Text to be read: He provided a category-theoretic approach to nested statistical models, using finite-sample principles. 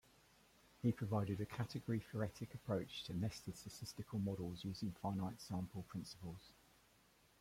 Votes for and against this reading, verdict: 1, 2, rejected